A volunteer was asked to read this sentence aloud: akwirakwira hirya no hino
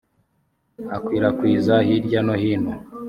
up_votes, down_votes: 1, 2